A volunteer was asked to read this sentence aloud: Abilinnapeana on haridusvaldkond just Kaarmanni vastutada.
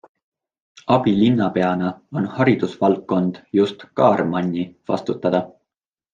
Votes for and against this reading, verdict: 2, 0, accepted